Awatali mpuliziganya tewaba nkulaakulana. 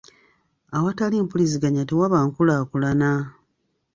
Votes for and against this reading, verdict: 2, 0, accepted